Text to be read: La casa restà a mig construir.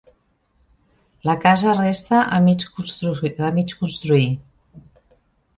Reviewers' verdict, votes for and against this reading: rejected, 0, 2